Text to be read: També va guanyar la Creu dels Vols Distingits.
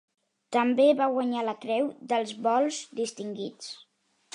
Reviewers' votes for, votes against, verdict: 3, 0, accepted